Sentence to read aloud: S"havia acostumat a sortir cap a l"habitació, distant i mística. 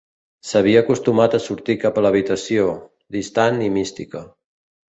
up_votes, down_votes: 2, 0